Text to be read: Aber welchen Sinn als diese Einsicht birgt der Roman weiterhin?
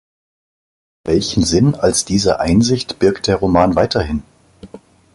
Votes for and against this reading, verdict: 1, 2, rejected